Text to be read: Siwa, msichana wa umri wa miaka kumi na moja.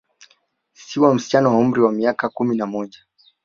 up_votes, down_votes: 3, 0